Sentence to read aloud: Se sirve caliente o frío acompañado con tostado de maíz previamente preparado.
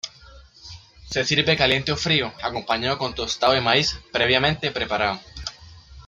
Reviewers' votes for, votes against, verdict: 2, 0, accepted